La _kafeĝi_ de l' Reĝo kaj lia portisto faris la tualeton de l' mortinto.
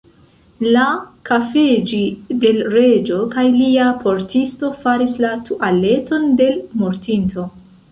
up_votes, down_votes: 2, 0